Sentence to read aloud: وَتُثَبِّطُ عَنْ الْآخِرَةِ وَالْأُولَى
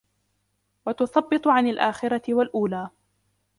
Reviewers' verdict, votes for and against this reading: accepted, 2, 1